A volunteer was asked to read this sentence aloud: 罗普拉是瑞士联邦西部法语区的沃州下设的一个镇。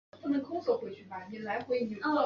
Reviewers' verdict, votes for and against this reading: rejected, 0, 2